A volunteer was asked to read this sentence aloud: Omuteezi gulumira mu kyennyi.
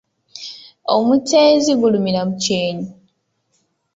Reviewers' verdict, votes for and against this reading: accepted, 2, 1